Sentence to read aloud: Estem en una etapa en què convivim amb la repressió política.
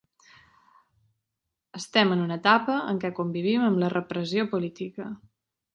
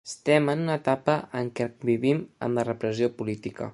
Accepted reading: first